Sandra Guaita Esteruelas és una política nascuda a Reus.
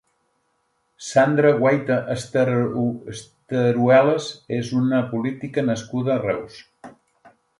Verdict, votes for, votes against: rejected, 0, 2